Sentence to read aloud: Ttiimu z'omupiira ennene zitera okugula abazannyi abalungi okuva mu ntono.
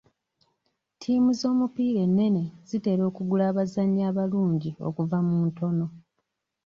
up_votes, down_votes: 2, 0